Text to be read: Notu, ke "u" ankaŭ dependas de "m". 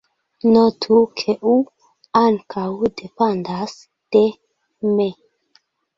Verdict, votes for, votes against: rejected, 0, 2